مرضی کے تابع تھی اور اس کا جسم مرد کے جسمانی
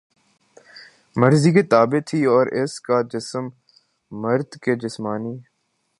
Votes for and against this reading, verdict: 4, 0, accepted